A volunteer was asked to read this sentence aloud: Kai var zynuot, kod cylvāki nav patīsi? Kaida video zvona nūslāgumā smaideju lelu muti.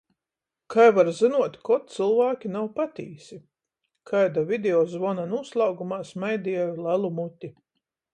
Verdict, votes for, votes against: rejected, 7, 7